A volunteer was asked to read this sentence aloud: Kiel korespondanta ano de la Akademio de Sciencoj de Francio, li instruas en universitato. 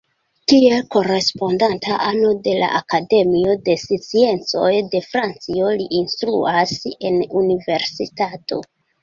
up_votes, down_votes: 1, 2